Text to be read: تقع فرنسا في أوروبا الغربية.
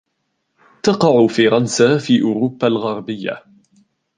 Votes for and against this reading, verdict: 2, 0, accepted